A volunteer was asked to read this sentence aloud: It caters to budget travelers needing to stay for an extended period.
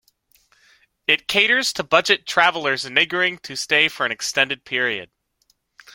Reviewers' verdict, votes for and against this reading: rejected, 0, 2